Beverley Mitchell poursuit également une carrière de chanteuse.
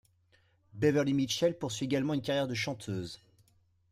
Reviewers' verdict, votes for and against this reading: accepted, 2, 0